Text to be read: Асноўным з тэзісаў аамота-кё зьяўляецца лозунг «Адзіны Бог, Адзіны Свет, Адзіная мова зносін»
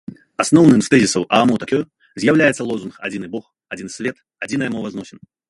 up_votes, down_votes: 1, 2